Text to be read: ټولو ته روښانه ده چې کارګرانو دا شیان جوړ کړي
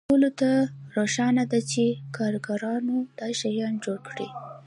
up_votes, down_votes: 2, 0